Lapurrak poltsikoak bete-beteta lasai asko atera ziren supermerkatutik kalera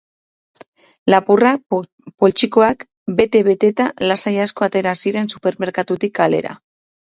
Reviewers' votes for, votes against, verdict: 2, 2, rejected